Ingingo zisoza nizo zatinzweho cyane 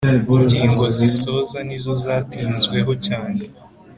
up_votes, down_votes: 4, 0